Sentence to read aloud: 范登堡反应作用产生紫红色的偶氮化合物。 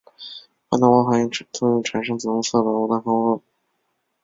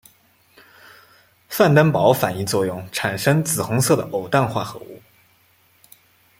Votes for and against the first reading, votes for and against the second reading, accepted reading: 0, 2, 2, 0, second